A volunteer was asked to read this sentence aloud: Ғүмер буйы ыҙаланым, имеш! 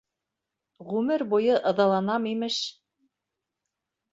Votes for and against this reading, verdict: 1, 2, rejected